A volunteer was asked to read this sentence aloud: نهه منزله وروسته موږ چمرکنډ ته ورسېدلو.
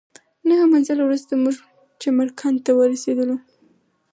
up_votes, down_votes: 4, 0